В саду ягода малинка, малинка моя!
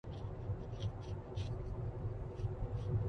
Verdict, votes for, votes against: rejected, 0, 2